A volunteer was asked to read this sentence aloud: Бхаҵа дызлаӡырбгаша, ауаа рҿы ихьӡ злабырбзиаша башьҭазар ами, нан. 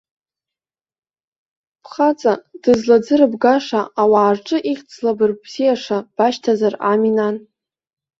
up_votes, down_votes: 2, 0